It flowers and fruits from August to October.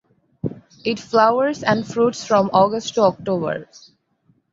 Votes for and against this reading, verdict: 4, 0, accepted